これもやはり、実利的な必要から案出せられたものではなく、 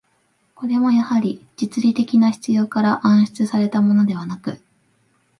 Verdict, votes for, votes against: accepted, 2, 1